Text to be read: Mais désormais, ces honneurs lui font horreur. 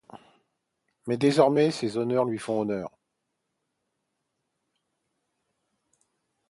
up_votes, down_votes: 0, 2